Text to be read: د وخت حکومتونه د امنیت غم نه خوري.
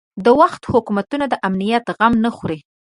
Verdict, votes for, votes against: accepted, 5, 0